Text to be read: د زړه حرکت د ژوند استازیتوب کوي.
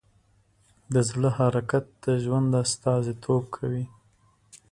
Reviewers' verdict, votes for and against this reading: accepted, 3, 0